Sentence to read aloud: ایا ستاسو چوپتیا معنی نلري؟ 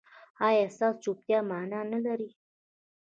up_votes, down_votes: 2, 0